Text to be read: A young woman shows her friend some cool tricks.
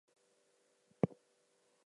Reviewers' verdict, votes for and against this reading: rejected, 0, 4